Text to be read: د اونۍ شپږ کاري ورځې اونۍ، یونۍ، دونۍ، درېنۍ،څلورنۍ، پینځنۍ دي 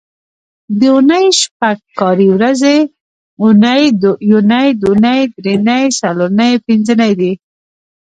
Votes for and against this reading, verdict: 1, 2, rejected